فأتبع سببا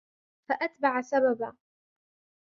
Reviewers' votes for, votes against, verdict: 2, 1, accepted